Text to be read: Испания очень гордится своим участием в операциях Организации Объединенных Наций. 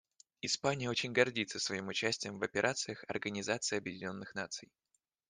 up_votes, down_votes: 2, 0